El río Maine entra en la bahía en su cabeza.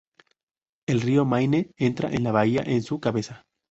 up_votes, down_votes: 0, 2